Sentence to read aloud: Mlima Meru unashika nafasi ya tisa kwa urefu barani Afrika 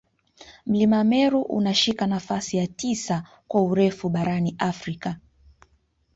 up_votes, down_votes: 1, 2